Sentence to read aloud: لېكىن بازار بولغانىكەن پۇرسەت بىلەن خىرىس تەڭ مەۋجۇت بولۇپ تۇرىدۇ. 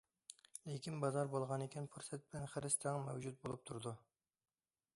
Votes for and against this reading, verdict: 2, 0, accepted